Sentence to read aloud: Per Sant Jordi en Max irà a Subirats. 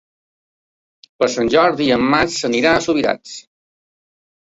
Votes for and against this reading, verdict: 0, 2, rejected